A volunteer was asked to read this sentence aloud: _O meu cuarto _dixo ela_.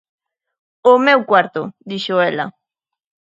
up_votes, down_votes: 3, 0